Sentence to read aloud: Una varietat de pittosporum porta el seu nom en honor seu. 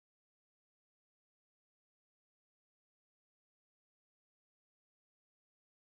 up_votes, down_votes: 0, 2